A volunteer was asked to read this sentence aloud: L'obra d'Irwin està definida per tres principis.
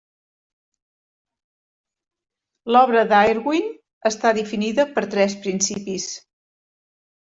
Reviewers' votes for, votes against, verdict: 1, 2, rejected